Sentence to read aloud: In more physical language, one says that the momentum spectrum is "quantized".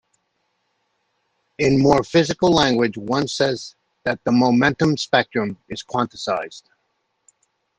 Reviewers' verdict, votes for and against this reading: rejected, 0, 2